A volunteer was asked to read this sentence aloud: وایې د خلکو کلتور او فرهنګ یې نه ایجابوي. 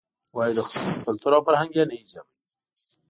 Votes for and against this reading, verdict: 1, 2, rejected